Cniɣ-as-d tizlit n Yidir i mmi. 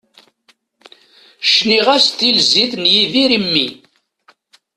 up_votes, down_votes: 0, 2